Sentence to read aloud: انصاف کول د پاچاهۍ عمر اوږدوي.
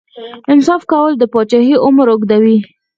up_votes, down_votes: 2, 4